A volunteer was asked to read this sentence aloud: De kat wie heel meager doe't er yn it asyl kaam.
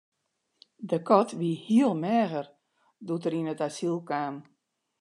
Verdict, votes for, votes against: accepted, 2, 1